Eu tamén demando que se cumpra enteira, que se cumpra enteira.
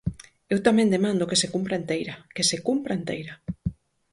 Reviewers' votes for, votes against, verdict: 4, 0, accepted